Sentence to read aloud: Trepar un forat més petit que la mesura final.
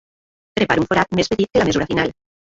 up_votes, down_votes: 0, 2